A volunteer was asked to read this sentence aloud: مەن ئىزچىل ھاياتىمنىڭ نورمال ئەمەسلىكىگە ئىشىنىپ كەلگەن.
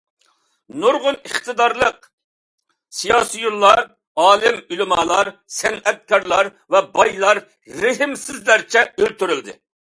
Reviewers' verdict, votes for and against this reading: rejected, 0, 2